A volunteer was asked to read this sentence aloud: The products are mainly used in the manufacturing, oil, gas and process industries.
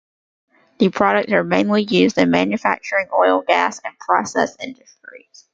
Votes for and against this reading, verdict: 2, 0, accepted